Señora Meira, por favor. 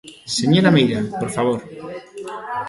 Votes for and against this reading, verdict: 2, 1, accepted